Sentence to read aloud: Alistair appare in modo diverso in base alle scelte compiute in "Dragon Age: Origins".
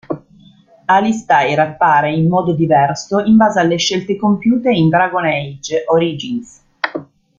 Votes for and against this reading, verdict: 2, 0, accepted